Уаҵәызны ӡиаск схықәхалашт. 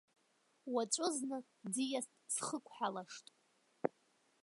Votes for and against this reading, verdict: 1, 3, rejected